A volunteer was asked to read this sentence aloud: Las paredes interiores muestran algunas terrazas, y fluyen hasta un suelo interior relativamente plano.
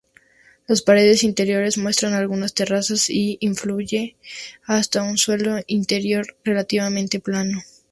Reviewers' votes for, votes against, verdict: 0, 2, rejected